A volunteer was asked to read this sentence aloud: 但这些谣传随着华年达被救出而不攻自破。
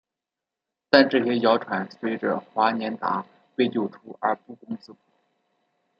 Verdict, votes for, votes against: rejected, 1, 2